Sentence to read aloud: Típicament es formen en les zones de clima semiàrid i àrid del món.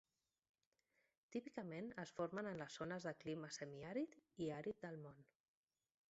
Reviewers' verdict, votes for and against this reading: rejected, 1, 2